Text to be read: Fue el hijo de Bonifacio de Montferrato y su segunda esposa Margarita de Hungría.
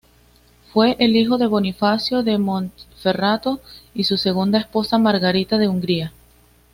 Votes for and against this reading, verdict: 2, 0, accepted